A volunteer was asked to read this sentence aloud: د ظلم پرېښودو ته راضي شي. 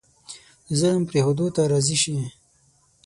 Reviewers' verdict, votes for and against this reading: accepted, 6, 0